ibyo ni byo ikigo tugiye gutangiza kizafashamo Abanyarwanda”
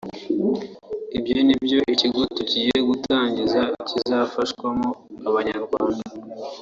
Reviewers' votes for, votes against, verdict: 0, 2, rejected